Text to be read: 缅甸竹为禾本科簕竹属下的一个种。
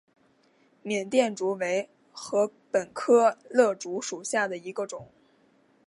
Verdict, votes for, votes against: accepted, 2, 0